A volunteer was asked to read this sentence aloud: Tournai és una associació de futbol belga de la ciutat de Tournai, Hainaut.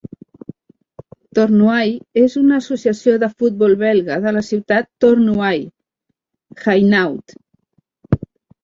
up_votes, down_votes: 0, 2